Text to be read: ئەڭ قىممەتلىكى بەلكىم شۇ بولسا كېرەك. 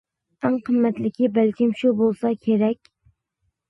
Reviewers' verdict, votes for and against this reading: accepted, 2, 0